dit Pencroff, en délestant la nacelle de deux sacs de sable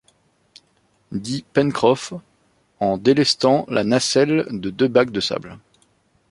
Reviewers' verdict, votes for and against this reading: rejected, 0, 2